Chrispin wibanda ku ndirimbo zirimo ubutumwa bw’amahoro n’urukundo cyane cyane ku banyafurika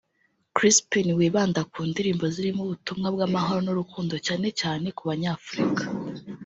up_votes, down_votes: 2, 0